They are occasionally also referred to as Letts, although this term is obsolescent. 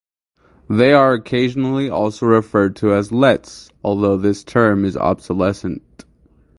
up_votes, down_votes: 4, 4